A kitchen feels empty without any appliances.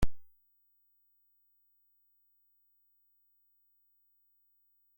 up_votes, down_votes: 0, 2